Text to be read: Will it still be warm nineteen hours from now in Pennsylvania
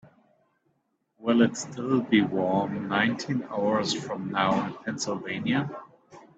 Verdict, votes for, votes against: rejected, 0, 2